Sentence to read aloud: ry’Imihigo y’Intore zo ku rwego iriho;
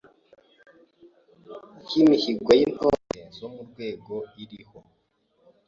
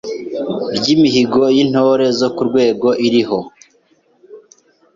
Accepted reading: second